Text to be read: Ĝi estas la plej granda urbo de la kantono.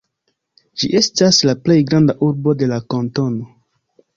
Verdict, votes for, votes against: rejected, 0, 2